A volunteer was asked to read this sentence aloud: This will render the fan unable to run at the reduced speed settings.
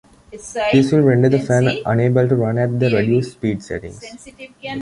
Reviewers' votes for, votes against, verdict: 0, 2, rejected